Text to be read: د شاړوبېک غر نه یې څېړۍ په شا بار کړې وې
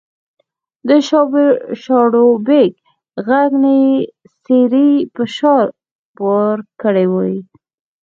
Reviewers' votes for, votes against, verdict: 1, 2, rejected